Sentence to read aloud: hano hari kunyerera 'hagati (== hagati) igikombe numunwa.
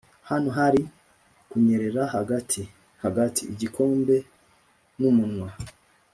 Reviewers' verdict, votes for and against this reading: accepted, 2, 0